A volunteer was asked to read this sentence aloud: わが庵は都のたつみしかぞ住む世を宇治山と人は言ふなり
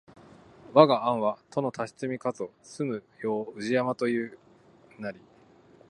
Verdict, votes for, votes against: accepted, 2, 1